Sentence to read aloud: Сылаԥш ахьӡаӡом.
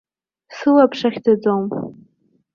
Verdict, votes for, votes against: accepted, 2, 0